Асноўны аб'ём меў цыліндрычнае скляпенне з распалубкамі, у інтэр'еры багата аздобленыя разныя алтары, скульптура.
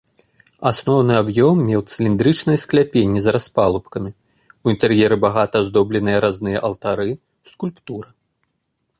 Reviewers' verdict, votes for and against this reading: accepted, 2, 0